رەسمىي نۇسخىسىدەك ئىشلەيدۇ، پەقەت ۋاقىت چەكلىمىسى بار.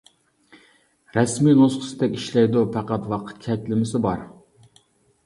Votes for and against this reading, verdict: 2, 0, accepted